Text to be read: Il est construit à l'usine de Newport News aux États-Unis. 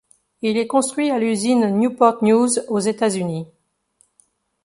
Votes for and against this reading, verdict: 1, 2, rejected